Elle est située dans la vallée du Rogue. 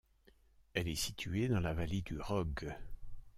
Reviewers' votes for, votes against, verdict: 2, 0, accepted